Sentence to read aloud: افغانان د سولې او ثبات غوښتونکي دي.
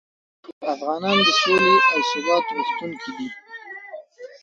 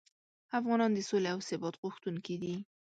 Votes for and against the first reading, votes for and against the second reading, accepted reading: 0, 2, 2, 0, second